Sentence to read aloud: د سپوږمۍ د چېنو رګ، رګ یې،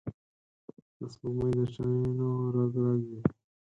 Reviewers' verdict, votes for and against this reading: rejected, 0, 4